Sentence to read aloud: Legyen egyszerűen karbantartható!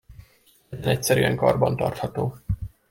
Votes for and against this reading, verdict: 1, 2, rejected